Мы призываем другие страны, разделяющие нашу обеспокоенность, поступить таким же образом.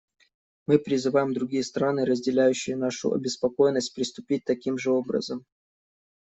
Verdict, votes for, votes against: rejected, 0, 2